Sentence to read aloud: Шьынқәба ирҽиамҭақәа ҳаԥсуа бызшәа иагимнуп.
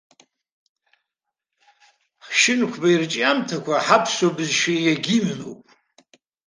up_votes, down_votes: 2, 0